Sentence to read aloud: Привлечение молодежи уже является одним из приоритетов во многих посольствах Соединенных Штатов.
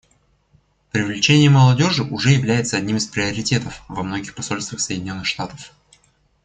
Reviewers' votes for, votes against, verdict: 2, 0, accepted